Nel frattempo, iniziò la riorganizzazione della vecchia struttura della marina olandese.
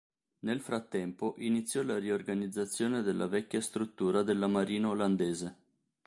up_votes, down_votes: 3, 0